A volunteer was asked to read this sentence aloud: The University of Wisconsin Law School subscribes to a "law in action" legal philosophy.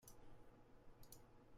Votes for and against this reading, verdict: 0, 2, rejected